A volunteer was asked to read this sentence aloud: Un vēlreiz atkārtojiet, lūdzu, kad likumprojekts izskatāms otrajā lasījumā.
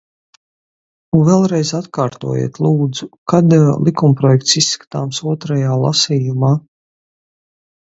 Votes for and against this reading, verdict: 2, 2, rejected